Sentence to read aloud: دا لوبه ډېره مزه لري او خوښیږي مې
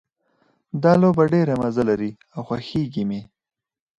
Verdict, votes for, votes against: rejected, 2, 2